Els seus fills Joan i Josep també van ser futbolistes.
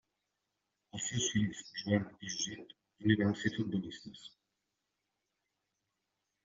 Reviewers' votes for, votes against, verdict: 0, 2, rejected